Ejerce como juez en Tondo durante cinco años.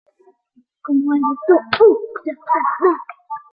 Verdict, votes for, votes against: rejected, 0, 2